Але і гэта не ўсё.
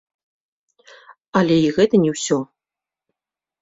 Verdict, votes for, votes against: accepted, 2, 0